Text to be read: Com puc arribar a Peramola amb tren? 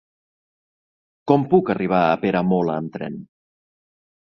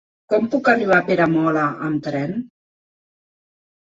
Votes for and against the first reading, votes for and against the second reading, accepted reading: 3, 0, 1, 2, first